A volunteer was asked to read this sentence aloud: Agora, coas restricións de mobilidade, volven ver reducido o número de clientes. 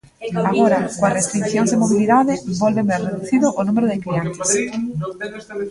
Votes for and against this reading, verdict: 0, 2, rejected